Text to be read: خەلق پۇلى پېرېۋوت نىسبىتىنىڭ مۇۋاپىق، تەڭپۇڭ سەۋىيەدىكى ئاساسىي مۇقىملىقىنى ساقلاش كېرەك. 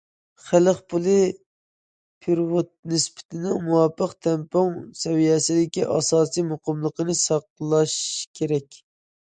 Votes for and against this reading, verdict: 0, 2, rejected